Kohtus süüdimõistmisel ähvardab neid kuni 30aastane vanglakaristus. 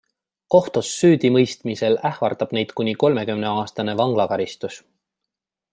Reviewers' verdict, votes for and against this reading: rejected, 0, 2